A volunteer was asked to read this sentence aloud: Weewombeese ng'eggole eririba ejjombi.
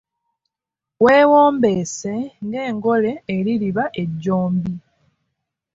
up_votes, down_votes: 0, 2